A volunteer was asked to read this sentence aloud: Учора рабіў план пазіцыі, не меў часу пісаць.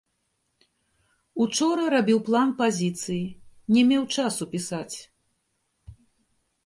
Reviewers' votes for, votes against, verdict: 0, 3, rejected